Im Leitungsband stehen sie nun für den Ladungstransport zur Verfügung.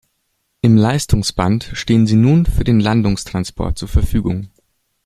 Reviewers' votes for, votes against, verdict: 0, 2, rejected